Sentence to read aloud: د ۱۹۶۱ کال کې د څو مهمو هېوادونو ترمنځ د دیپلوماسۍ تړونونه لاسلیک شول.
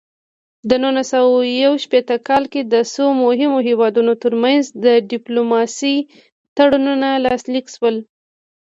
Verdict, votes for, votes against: rejected, 0, 2